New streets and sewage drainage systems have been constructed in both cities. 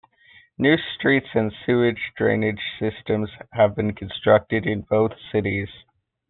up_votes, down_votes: 2, 0